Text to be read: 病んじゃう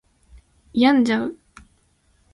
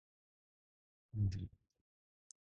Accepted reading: first